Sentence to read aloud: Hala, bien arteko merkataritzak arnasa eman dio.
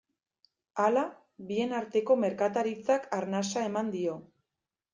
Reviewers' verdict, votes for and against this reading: accepted, 2, 0